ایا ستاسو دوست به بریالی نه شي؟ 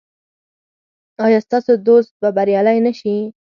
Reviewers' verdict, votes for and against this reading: accepted, 4, 0